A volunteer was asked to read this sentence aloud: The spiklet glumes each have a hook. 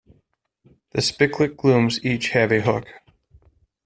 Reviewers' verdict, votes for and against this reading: rejected, 0, 2